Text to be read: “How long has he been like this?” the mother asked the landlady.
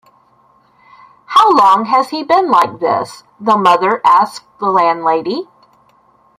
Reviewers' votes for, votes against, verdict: 1, 2, rejected